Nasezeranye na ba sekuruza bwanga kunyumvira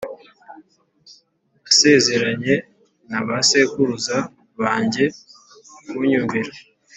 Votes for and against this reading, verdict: 1, 2, rejected